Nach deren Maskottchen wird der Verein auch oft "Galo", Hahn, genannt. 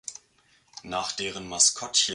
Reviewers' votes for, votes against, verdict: 0, 2, rejected